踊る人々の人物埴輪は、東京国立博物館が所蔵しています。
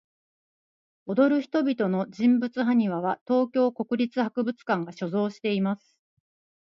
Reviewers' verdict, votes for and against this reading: accepted, 2, 0